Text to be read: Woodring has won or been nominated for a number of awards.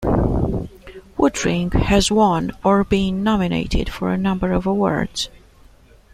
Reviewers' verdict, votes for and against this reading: accepted, 2, 0